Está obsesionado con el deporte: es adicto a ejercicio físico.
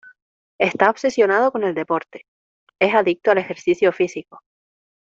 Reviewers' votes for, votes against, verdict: 1, 2, rejected